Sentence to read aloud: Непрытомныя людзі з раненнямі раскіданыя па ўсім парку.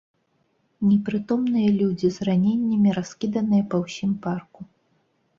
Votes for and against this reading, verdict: 2, 0, accepted